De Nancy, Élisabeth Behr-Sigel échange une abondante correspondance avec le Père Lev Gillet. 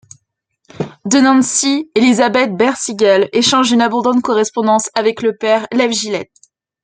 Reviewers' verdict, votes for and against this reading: accepted, 2, 1